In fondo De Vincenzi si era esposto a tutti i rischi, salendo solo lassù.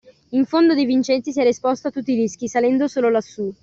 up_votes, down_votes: 2, 1